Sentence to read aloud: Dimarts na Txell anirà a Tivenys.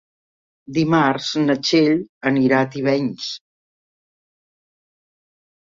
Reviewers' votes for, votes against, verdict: 2, 0, accepted